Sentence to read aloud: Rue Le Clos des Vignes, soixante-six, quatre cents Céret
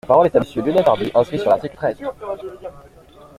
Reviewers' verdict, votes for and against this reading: rejected, 0, 2